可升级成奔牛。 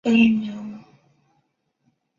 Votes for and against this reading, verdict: 0, 2, rejected